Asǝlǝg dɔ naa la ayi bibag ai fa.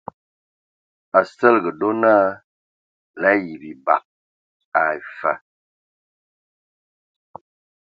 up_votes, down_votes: 1, 2